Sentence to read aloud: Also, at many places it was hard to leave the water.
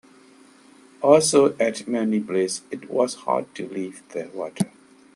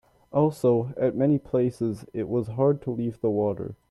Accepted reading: second